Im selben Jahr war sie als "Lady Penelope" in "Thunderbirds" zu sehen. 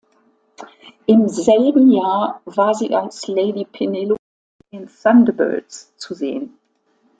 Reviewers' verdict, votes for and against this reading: rejected, 0, 2